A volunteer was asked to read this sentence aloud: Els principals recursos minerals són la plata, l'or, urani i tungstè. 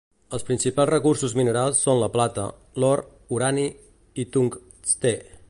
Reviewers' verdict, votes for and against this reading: rejected, 1, 2